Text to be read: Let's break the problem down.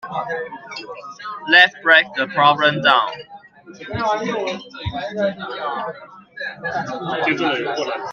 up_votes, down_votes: 2, 0